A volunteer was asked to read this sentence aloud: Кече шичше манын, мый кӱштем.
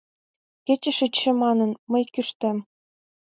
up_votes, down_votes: 2, 0